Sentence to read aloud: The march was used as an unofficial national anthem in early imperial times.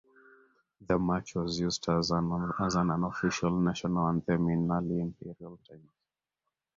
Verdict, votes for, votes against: rejected, 0, 2